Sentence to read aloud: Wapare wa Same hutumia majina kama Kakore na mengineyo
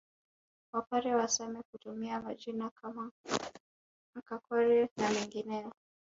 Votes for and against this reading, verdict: 2, 0, accepted